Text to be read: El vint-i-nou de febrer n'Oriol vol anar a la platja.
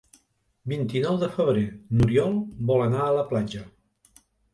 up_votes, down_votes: 0, 2